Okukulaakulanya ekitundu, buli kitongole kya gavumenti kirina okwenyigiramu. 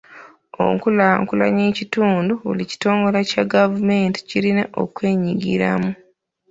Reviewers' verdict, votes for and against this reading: rejected, 0, 2